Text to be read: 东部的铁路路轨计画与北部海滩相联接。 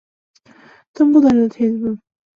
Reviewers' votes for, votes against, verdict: 0, 2, rejected